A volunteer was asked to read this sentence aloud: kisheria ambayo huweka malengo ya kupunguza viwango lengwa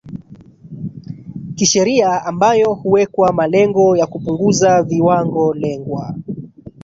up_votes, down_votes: 1, 2